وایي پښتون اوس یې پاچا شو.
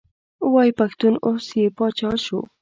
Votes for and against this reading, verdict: 2, 0, accepted